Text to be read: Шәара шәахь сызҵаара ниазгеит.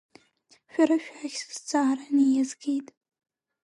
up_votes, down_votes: 3, 1